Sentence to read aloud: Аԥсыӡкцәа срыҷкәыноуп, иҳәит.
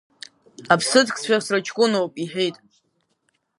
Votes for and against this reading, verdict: 1, 2, rejected